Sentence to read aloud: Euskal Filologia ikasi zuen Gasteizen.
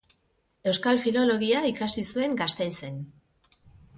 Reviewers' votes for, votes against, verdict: 2, 0, accepted